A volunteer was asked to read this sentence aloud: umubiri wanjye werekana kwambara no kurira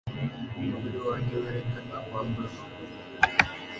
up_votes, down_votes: 1, 2